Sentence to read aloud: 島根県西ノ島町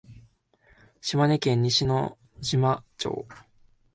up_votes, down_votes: 2, 0